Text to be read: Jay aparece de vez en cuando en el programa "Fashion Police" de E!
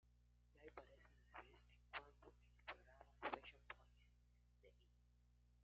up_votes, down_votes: 0, 2